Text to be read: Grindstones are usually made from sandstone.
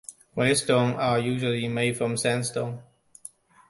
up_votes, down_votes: 1, 2